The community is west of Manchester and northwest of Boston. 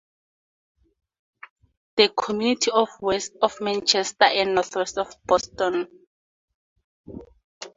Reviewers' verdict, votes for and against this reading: accepted, 2, 0